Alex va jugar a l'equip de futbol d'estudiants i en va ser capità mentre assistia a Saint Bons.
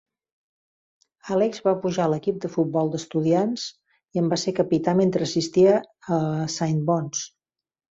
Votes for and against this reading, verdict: 0, 2, rejected